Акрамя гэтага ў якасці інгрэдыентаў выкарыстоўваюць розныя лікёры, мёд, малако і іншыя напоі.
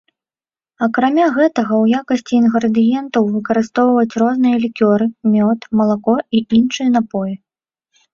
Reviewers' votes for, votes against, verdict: 2, 0, accepted